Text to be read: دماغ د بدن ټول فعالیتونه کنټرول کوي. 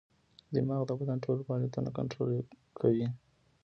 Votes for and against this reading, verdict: 2, 0, accepted